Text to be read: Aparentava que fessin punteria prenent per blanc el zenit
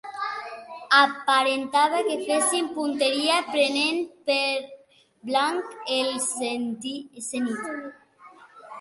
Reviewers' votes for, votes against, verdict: 1, 3, rejected